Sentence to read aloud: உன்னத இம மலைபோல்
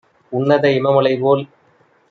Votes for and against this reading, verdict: 2, 0, accepted